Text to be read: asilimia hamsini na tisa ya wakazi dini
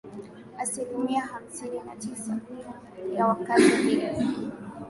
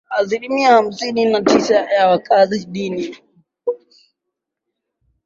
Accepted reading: first